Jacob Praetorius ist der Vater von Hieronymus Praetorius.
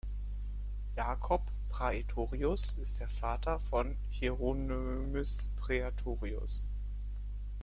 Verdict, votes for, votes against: rejected, 0, 2